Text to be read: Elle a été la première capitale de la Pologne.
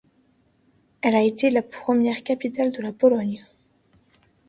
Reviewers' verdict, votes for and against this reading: accepted, 2, 0